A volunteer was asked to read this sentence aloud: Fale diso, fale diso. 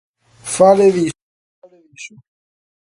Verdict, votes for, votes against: rejected, 0, 2